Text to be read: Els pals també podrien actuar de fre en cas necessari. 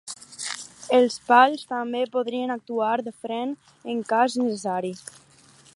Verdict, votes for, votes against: rejected, 2, 2